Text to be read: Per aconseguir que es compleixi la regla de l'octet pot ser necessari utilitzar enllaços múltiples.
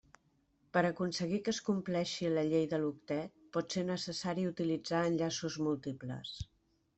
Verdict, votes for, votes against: rejected, 1, 2